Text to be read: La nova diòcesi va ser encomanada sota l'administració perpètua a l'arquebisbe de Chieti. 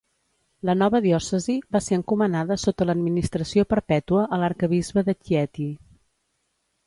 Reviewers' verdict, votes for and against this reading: accepted, 2, 0